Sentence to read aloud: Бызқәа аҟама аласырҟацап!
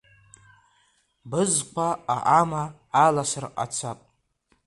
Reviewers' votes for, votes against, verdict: 1, 2, rejected